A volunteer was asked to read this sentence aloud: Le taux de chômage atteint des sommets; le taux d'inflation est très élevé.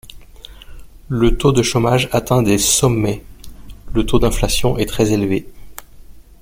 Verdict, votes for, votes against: accepted, 2, 0